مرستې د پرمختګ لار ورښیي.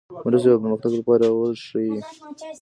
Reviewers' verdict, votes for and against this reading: rejected, 0, 2